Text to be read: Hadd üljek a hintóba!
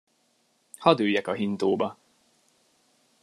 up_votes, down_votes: 2, 0